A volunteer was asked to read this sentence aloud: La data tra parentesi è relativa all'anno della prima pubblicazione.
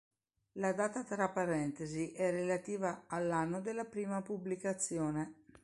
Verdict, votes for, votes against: accepted, 2, 0